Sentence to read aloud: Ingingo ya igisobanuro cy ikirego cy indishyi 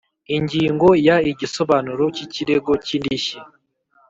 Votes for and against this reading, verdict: 2, 0, accepted